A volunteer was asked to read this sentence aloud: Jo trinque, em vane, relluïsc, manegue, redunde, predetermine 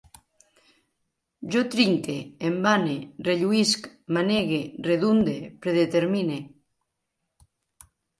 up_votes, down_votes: 2, 0